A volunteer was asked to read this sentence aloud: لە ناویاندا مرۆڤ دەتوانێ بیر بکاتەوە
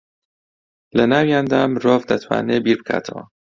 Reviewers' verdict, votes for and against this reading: accepted, 2, 0